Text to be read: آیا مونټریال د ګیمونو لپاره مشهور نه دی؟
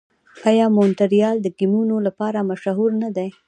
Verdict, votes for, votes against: rejected, 1, 2